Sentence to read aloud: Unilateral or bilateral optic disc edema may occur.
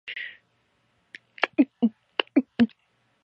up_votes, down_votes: 0, 2